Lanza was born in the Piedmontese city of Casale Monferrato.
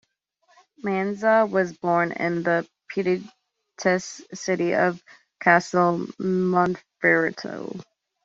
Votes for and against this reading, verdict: 1, 2, rejected